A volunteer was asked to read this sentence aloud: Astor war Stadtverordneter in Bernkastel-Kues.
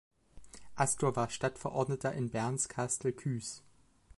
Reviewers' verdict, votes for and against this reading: rejected, 0, 2